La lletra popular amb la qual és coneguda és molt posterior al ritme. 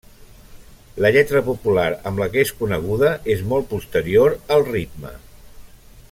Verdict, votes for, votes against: rejected, 0, 2